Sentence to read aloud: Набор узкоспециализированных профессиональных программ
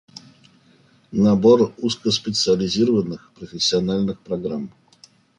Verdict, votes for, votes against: accepted, 3, 0